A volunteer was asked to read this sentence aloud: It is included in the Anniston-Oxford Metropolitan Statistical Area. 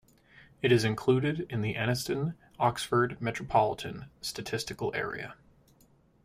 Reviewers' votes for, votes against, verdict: 2, 0, accepted